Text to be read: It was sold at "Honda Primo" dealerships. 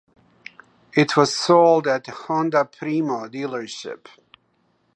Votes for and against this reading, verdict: 1, 2, rejected